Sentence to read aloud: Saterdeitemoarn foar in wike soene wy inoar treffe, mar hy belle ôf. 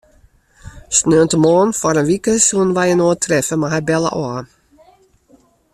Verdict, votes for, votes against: accepted, 2, 0